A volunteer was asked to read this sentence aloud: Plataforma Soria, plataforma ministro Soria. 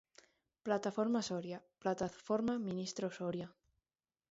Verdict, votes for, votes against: accepted, 2, 1